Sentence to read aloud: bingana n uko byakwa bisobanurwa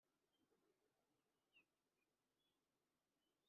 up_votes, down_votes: 1, 2